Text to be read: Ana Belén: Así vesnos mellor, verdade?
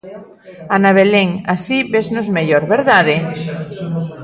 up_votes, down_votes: 1, 2